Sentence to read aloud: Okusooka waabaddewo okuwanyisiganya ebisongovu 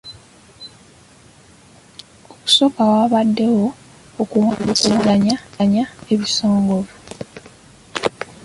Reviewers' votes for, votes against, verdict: 0, 2, rejected